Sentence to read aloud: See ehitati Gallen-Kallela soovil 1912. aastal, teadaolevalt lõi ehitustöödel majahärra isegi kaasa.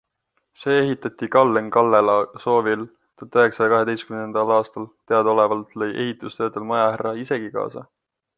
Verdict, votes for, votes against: rejected, 0, 2